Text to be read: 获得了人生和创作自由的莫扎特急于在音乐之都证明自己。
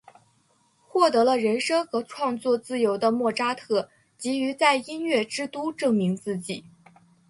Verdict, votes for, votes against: accepted, 8, 0